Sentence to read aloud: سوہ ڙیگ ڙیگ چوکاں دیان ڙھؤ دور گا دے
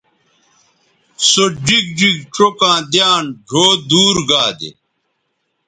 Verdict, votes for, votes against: rejected, 1, 2